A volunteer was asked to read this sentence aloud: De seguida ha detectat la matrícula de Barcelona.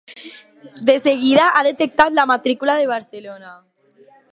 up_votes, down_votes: 2, 0